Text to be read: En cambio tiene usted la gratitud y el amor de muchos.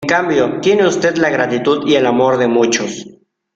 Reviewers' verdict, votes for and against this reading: rejected, 1, 2